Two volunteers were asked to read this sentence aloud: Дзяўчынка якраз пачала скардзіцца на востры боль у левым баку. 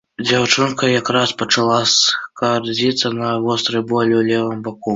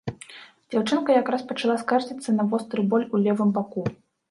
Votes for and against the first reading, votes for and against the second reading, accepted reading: 0, 2, 2, 0, second